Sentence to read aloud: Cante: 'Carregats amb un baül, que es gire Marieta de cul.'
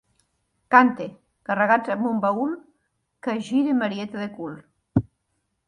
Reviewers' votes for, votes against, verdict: 2, 0, accepted